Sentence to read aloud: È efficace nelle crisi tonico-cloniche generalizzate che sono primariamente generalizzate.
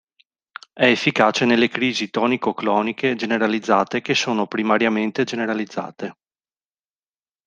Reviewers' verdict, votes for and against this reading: accepted, 2, 0